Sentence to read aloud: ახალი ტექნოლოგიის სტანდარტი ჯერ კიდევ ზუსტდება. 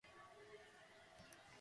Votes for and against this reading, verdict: 0, 2, rejected